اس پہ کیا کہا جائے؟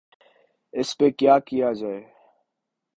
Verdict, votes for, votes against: accepted, 4, 1